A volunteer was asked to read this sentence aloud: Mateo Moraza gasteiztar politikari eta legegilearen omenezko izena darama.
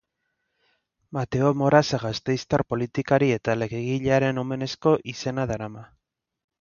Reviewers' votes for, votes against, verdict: 2, 0, accepted